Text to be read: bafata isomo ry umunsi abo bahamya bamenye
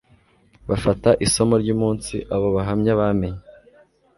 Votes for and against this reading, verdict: 2, 0, accepted